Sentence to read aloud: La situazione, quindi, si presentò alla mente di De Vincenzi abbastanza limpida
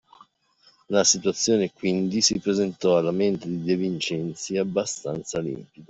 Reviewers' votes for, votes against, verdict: 1, 2, rejected